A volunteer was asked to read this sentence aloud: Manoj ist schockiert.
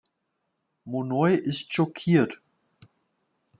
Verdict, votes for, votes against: rejected, 0, 2